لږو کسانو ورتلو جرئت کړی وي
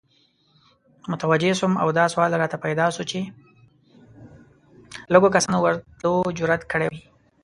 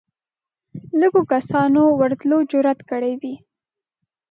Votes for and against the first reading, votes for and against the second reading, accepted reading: 1, 2, 2, 0, second